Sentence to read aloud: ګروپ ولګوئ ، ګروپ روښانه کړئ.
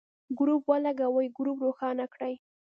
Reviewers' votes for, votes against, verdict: 1, 2, rejected